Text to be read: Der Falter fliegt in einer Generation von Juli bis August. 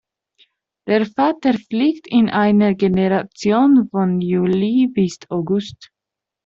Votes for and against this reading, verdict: 2, 0, accepted